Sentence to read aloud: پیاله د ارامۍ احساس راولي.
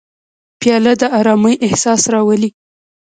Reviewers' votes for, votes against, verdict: 1, 2, rejected